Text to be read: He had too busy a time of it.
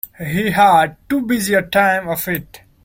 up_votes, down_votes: 2, 0